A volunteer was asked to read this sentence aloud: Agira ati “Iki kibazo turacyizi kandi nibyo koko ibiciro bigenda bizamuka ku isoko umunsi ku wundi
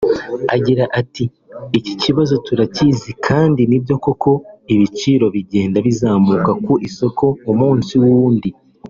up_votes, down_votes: 0, 2